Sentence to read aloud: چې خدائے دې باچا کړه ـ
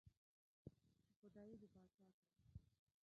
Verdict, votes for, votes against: rejected, 3, 4